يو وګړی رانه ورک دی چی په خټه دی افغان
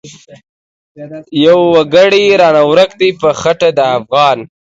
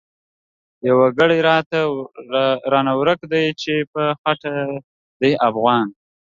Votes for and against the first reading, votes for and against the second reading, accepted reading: 2, 3, 2, 0, second